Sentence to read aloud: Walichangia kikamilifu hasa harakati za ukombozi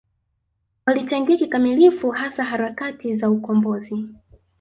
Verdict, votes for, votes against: rejected, 0, 2